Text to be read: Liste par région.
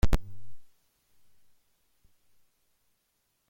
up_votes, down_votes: 0, 2